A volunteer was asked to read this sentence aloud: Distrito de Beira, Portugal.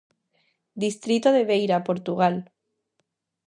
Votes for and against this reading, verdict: 2, 0, accepted